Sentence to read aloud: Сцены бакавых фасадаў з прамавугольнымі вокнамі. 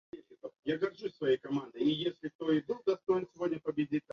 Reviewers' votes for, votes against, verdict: 0, 2, rejected